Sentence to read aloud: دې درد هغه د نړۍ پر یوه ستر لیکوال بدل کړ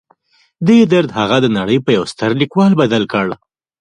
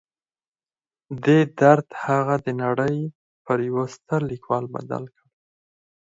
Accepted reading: first